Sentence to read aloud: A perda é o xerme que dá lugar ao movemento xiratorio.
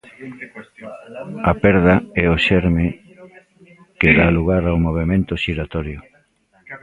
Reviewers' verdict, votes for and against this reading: rejected, 0, 2